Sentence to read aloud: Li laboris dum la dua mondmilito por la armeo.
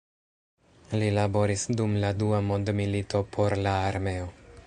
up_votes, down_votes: 4, 0